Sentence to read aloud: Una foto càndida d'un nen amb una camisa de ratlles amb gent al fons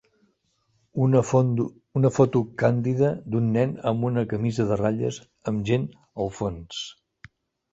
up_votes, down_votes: 0, 3